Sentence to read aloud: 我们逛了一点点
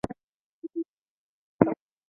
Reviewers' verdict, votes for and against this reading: rejected, 0, 2